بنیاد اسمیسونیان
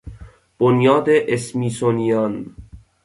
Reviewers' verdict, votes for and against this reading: accepted, 2, 0